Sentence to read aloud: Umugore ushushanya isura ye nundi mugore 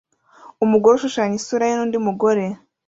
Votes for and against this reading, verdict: 2, 0, accepted